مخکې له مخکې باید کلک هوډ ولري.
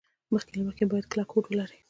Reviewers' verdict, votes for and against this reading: accepted, 2, 0